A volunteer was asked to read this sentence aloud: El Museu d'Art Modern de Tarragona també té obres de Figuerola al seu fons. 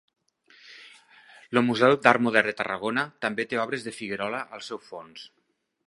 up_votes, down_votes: 0, 2